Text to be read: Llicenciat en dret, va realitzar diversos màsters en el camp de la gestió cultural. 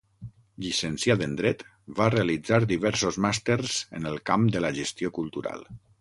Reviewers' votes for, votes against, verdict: 6, 0, accepted